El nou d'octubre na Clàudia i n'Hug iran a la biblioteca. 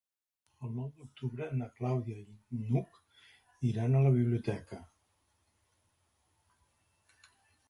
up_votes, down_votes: 3, 0